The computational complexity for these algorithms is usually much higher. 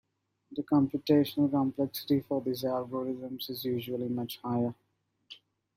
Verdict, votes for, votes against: accepted, 2, 0